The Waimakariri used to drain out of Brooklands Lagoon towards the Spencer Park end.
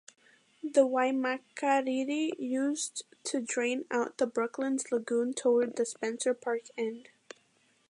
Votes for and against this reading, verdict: 2, 1, accepted